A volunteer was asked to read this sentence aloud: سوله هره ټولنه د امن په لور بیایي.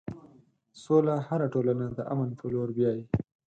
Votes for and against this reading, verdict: 4, 0, accepted